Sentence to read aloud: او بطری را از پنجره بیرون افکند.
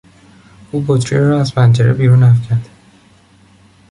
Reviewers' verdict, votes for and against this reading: accepted, 2, 0